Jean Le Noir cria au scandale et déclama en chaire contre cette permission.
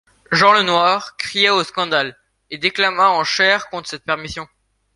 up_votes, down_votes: 2, 0